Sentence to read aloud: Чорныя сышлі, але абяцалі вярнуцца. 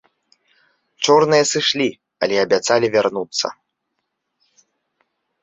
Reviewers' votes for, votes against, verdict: 2, 0, accepted